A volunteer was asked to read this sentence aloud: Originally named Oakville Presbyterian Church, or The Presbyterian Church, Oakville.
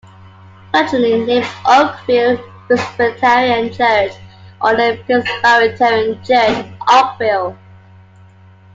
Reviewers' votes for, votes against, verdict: 0, 2, rejected